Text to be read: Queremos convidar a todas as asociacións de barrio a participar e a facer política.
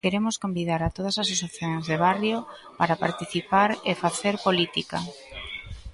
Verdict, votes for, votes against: rejected, 0, 2